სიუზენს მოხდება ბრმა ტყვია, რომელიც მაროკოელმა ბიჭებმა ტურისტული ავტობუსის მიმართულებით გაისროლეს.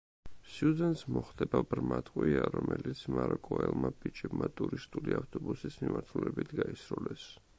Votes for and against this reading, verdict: 2, 0, accepted